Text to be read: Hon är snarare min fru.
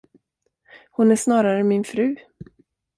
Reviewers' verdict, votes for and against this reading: accepted, 2, 0